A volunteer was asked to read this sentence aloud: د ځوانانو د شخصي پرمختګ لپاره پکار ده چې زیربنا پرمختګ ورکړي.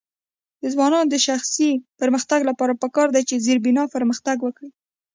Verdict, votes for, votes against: accepted, 2, 1